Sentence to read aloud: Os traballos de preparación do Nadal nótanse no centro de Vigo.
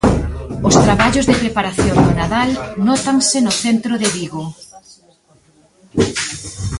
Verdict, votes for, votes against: rejected, 0, 2